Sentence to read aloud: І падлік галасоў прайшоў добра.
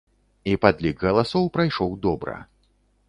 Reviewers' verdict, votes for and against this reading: accepted, 2, 0